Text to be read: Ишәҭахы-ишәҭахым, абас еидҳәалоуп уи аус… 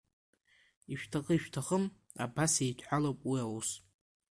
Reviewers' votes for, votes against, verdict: 2, 1, accepted